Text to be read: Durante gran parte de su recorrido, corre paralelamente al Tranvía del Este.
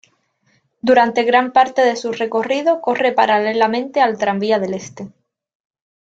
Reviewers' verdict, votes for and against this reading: accepted, 2, 0